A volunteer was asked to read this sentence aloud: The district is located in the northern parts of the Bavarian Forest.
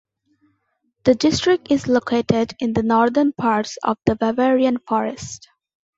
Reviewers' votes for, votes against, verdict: 0, 2, rejected